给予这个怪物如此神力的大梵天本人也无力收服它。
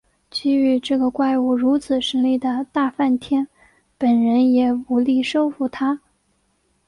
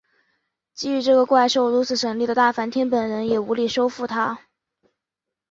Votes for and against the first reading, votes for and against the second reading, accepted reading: 5, 0, 2, 2, first